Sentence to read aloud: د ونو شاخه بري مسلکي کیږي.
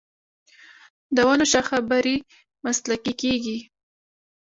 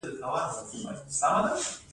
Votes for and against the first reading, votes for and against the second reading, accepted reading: 1, 2, 2, 1, second